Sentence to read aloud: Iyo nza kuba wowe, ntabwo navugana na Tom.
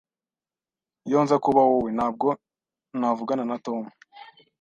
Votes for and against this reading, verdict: 2, 0, accepted